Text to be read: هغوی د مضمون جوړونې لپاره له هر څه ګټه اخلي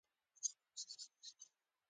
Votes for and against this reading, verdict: 1, 2, rejected